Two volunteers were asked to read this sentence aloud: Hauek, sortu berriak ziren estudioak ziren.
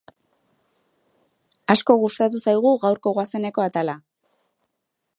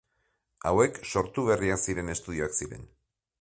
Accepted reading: second